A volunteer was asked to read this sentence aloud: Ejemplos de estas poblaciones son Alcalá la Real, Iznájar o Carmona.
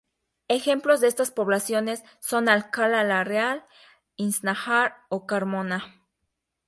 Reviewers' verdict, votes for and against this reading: rejected, 0, 2